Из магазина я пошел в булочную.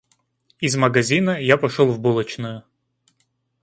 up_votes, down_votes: 2, 0